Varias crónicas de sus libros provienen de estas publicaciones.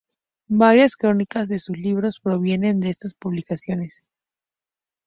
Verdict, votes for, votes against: accepted, 2, 0